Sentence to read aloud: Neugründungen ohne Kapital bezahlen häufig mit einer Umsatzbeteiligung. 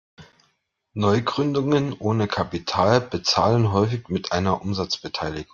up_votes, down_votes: 0, 2